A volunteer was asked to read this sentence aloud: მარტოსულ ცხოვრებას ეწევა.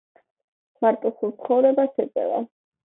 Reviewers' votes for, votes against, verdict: 2, 1, accepted